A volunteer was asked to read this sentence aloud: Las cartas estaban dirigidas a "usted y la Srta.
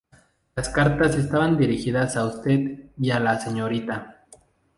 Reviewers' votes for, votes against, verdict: 0, 2, rejected